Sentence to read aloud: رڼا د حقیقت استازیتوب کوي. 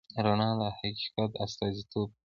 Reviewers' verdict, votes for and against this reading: rejected, 0, 2